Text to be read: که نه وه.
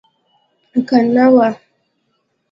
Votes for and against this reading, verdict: 2, 0, accepted